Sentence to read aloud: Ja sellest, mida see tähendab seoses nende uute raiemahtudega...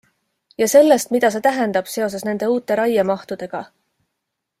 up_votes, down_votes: 2, 0